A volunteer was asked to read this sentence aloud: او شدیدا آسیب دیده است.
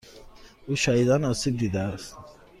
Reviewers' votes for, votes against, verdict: 2, 0, accepted